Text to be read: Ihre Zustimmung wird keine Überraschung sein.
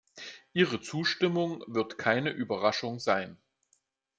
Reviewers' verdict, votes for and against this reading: accepted, 2, 0